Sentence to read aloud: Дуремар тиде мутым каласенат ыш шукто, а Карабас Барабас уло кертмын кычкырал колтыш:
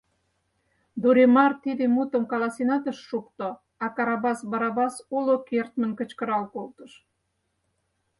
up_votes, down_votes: 4, 0